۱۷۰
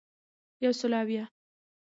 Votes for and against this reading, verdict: 0, 2, rejected